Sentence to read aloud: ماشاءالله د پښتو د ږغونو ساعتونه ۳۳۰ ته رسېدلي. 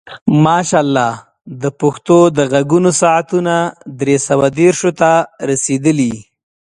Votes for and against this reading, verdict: 0, 2, rejected